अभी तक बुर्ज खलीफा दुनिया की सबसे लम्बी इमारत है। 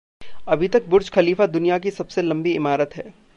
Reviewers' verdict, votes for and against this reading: accepted, 2, 0